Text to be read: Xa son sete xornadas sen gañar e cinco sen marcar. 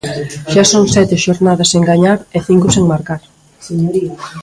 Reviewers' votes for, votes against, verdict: 0, 2, rejected